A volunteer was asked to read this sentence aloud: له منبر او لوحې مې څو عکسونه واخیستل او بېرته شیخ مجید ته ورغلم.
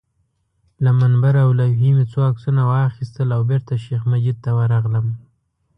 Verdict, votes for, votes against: accepted, 2, 0